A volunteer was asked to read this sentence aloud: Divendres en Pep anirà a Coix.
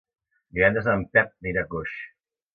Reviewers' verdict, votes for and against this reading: accepted, 2, 1